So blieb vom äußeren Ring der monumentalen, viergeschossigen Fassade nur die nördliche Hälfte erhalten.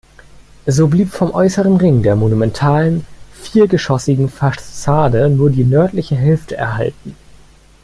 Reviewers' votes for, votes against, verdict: 1, 2, rejected